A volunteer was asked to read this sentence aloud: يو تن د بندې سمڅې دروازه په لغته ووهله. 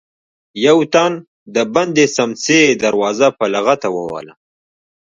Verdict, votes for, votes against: rejected, 0, 2